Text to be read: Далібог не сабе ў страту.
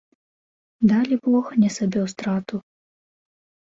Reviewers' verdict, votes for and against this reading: accepted, 2, 0